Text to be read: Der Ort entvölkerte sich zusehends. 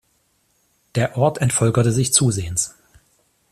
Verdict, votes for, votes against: accepted, 2, 0